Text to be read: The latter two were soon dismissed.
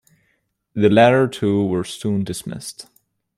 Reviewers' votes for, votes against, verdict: 1, 2, rejected